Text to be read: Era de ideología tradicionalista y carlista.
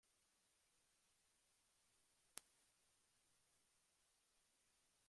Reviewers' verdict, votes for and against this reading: rejected, 0, 2